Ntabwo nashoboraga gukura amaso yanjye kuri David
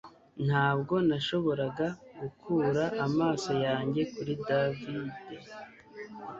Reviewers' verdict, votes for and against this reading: accepted, 2, 0